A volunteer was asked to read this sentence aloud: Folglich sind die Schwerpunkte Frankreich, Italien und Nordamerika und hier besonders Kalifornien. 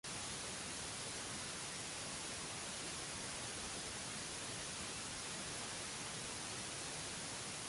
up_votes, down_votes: 0, 2